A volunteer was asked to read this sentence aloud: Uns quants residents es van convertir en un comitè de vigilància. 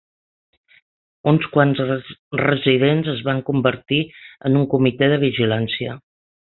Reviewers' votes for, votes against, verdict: 0, 4, rejected